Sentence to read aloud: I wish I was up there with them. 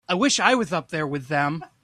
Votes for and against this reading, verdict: 2, 0, accepted